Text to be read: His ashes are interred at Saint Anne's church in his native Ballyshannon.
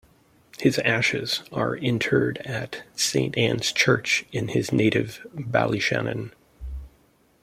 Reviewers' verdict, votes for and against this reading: accepted, 2, 0